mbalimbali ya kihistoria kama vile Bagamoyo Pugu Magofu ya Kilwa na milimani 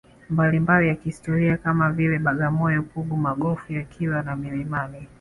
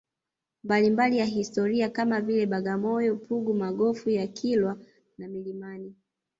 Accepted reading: first